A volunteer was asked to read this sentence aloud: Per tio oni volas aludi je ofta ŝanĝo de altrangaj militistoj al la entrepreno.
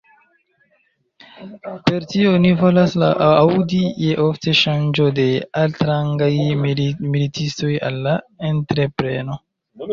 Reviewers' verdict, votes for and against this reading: rejected, 0, 2